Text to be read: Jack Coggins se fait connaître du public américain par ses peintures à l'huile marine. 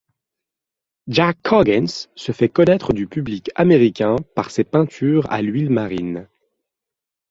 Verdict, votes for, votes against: accepted, 2, 0